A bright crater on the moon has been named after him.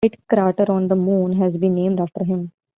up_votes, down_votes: 0, 2